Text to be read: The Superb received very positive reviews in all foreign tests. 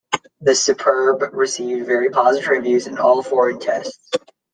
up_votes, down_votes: 0, 2